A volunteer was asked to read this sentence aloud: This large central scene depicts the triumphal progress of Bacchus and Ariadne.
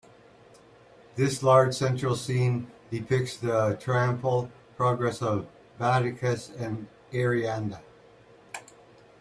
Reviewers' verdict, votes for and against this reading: rejected, 1, 2